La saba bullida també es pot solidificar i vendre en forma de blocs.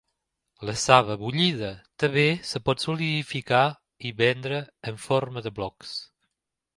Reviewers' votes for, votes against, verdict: 1, 2, rejected